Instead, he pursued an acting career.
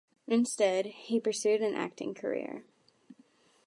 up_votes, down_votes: 2, 0